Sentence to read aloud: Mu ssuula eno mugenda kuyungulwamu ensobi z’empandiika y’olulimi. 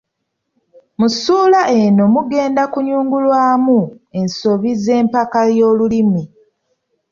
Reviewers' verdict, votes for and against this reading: rejected, 1, 2